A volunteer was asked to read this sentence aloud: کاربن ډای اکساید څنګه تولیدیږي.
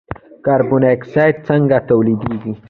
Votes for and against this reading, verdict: 2, 1, accepted